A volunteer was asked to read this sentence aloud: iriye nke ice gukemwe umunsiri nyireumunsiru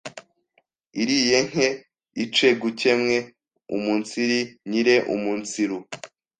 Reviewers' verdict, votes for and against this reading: rejected, 1, 2